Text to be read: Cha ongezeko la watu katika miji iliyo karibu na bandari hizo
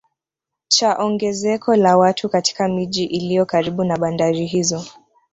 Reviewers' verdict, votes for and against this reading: rejected, 0, 2